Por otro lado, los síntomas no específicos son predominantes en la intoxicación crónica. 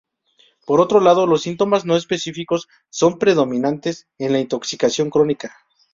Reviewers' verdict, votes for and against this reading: accepted, 2, 0